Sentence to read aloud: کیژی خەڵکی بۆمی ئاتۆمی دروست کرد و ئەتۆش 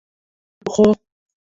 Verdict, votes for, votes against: rejected, 0, 2